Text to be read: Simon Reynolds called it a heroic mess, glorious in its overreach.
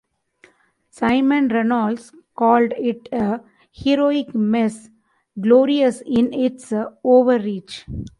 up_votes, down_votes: 2, 0